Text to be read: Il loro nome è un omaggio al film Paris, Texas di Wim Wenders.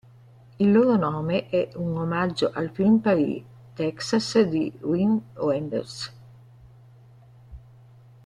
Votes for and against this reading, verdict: 1, 2, rejected